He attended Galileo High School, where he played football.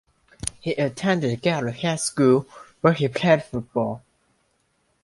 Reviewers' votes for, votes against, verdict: 1, 2, rejected